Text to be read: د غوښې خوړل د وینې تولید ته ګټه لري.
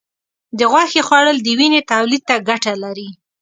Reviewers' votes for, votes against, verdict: 2, 0, accepted